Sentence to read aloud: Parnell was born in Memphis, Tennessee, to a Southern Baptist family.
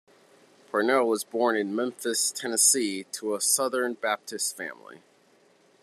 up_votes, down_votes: 2, 0